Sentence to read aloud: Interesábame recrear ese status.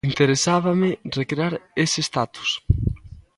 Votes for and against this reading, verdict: 3, 0, accepted